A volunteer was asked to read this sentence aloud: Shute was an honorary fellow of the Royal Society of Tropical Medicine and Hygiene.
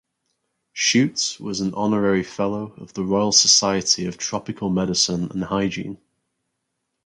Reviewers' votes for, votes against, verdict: 0, 4, rejected